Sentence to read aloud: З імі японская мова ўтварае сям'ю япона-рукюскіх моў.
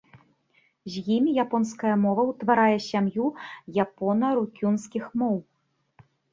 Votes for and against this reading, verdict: 2, 3, rejected